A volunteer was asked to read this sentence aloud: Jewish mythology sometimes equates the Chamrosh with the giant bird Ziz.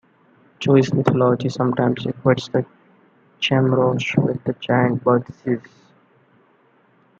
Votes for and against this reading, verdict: 1, 2, rejected